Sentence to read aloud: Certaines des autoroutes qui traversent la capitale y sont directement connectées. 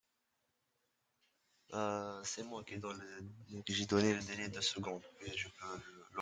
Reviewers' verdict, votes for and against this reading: rejected, 0, 2